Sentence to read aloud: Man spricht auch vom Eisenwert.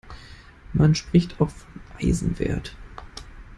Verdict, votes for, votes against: rejected, 0, 2